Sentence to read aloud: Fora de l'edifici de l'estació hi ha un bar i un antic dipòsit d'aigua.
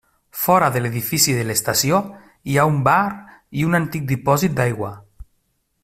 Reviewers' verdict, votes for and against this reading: rejected, 1, 2